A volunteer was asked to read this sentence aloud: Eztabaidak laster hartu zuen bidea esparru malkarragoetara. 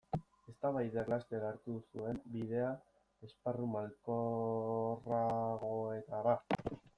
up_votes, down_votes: 0, 2